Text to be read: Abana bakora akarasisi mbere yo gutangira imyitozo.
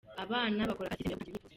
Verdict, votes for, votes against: rejected, 0, 3